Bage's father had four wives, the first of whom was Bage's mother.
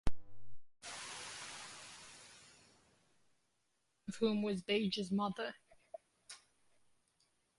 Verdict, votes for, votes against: rejected, 0, 2